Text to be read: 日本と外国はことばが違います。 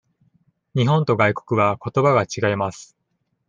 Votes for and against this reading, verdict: 2, 0, accepted